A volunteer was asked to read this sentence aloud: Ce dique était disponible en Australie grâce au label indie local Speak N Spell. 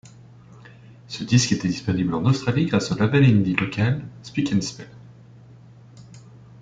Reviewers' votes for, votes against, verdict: 0, 2, rejected